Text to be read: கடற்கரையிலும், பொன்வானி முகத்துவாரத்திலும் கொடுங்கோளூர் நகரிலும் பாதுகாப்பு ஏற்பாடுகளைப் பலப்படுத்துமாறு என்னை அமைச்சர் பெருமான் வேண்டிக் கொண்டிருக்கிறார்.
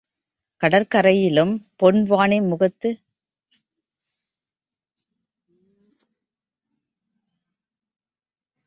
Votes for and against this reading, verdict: 0, 2, rejected